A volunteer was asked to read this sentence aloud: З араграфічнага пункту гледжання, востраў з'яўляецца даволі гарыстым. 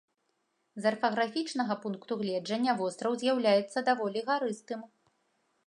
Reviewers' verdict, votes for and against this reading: rejected, 1, 2